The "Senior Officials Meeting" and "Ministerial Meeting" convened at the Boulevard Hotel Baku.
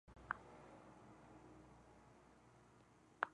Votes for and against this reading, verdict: 0, 2, rejected